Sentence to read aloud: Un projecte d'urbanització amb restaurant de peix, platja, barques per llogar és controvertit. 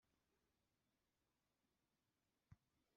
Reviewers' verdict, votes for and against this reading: rejected, 0, 2